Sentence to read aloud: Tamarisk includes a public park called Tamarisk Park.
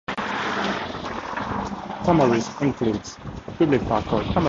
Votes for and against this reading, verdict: 0, 2, rejected